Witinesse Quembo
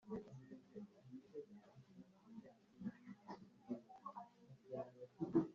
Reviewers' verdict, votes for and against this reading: rejected, 0, 2